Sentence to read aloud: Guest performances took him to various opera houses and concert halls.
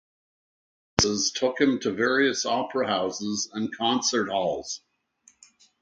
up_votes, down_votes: 0, 2